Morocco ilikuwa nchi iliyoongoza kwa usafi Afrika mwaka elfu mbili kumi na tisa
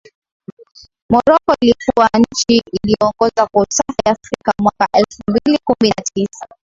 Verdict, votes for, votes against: accepted, 2, 1